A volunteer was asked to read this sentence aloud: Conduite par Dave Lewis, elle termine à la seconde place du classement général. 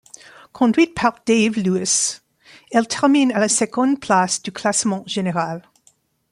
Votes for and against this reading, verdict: 2, 0, accepted